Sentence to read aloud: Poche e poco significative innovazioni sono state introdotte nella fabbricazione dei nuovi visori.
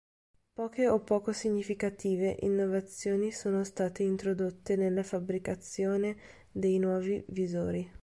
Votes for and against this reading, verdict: 1, 2, rejected